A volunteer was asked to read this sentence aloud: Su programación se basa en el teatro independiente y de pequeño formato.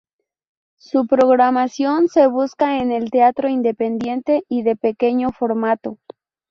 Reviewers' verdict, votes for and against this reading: rejected, 0, 2